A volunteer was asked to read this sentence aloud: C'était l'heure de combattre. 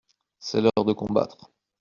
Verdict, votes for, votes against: rejected, 1, 2